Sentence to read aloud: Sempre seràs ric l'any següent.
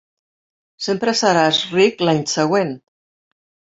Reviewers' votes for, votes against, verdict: 3, 0, accepted